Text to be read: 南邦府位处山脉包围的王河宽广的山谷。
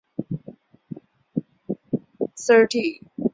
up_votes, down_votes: 0, 2